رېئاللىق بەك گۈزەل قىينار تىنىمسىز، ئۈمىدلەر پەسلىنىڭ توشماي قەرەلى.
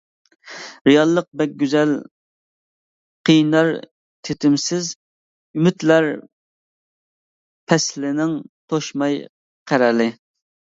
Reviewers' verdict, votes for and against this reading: rejected, 0, 2